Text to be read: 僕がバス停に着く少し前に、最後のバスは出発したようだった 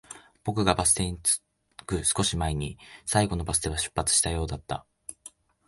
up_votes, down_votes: 2, 4